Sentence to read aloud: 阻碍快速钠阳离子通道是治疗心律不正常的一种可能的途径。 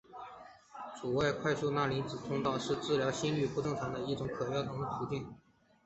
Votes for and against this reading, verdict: 2, 0, accepted